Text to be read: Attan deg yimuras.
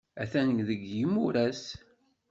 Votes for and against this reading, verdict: 1, 2, rejected